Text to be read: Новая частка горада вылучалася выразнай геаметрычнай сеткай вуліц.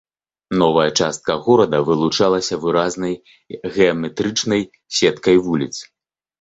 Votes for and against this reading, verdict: 0, 2, rejected